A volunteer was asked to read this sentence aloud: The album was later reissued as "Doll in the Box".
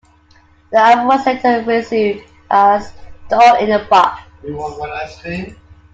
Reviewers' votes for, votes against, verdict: 0, 2, rejected